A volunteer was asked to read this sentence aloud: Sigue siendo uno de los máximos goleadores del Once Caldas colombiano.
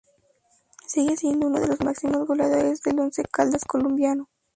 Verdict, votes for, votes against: accepted, 2, 0